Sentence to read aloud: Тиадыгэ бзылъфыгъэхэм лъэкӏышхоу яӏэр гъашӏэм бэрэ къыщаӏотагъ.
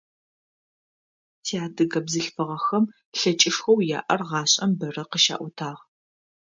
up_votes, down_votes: 2, 0